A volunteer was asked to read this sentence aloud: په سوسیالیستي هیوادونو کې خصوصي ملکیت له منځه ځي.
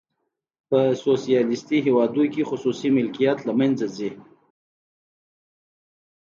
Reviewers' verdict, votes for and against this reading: accepted, 2, 0